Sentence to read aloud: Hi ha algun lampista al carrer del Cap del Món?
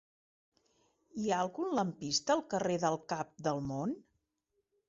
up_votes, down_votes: 4, 0